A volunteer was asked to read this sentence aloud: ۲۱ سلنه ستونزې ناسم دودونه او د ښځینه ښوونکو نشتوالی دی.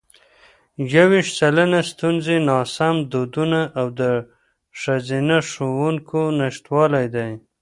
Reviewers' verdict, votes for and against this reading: rejected, 0, 2